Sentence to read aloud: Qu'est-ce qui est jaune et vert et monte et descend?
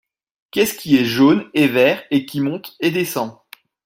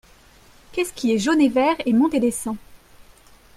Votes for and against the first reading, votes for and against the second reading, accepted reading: 1, 2, 2, 0, second